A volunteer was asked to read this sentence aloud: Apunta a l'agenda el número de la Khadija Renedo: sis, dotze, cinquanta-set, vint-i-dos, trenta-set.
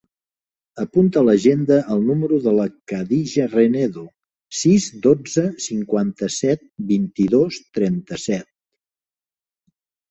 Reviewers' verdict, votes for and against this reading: accepted, 3, 0